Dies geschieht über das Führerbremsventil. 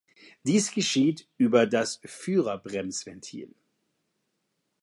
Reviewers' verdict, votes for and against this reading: accepted, 2, 0